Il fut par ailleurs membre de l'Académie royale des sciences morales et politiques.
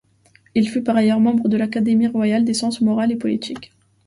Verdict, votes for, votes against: accepted, 2, 0